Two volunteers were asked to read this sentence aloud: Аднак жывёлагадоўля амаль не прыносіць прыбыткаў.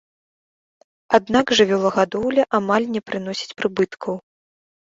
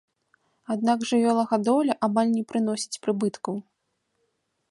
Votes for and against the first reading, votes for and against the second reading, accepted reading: 2, 0, 1, 2, first